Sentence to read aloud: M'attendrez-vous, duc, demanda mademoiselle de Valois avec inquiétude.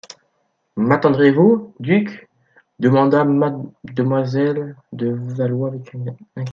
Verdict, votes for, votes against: rejected, 0, 2